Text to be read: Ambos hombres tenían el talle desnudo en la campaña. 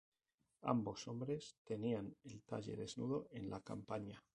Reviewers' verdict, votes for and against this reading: accepted, 2, 0